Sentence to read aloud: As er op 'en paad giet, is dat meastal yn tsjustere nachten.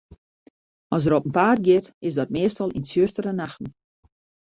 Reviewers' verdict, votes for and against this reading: accepted, 2, 0